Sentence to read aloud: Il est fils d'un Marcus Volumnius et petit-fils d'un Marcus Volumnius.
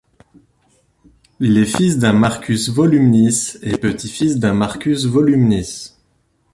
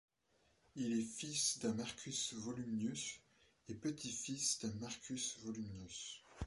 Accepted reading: second